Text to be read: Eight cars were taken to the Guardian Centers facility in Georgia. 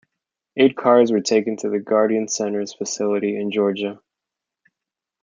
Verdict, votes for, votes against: accepted, 2, 0